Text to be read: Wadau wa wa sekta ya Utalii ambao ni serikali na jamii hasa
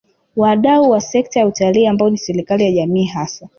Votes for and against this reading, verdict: 2, 0, accepted